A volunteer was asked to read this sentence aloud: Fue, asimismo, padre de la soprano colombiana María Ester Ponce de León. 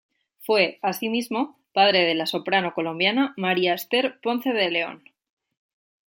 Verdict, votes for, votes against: rejected, 1, 2